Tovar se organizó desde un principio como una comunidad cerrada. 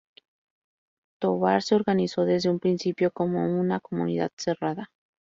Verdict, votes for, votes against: accepted, 2, 0